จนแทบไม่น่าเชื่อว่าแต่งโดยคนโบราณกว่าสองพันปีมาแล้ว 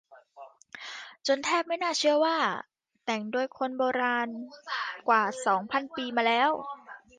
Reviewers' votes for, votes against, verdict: 0, 2, rejected